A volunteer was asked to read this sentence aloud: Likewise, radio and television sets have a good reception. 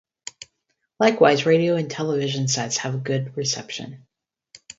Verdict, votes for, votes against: rejected, 2, 2